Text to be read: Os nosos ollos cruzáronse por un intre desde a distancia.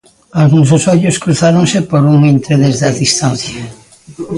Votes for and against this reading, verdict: 0, 2, rejected